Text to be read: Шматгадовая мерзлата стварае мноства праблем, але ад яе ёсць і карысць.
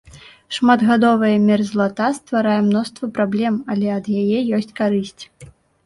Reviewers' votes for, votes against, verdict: 1, 2, rejected